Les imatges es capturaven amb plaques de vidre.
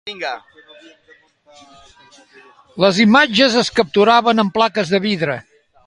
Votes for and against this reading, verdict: 0, 2, rejected